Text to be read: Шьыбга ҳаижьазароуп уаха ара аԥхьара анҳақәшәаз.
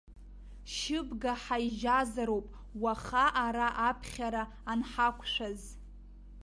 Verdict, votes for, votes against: rejected, 1, 2